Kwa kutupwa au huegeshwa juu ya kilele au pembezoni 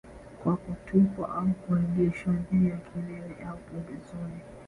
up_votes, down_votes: 2, 0